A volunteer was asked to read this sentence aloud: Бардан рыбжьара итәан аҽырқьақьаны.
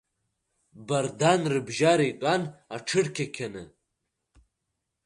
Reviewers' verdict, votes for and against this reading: accepted, 2, 0